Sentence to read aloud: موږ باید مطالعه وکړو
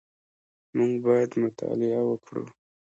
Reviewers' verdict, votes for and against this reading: accepted, 2, 1